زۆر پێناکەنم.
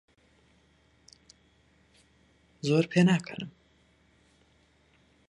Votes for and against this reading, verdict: 2, 4, rejected